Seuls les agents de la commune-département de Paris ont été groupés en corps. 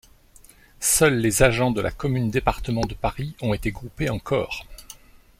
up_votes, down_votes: 2, 0